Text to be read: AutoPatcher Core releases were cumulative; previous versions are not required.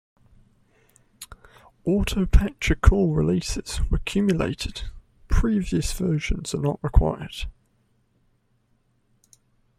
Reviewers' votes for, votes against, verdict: 1, 2, rejected